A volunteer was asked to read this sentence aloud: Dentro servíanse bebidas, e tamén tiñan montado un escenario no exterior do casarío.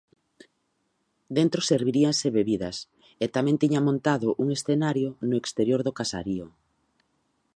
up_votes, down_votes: 0, 2